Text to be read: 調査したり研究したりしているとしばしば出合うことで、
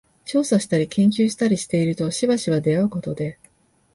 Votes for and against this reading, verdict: 3, 0, accepted